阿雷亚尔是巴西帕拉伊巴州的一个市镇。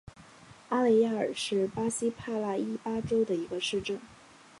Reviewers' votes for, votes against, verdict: 2, 0, accepted